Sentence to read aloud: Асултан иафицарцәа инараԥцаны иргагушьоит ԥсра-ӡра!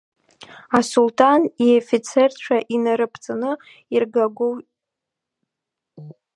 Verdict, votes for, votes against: rejected, 0, 2